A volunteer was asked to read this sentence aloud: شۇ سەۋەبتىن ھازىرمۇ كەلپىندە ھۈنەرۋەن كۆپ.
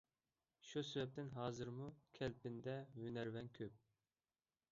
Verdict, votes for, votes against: rejected, 0, 2